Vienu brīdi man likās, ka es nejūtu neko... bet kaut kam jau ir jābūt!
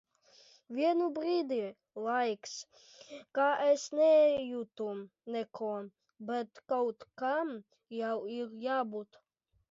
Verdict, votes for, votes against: rejected, 1, 3